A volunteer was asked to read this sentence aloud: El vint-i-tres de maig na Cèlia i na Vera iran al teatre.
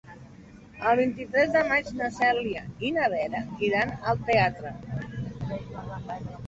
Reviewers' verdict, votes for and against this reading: accepted, 3, 0